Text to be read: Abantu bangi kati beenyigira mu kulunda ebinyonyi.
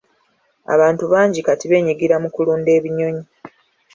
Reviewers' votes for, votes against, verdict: 2, 1, accepted